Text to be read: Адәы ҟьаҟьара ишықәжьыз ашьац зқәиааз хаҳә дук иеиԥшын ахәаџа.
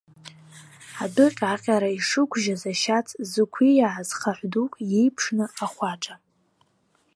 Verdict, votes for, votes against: rejected, 1, 2